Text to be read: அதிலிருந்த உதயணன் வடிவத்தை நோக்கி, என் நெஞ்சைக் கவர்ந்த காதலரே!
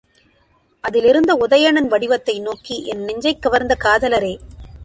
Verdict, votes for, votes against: accepted, 2, 1